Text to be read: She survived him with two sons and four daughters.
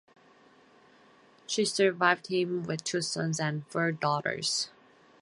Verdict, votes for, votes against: accepted, 4, 0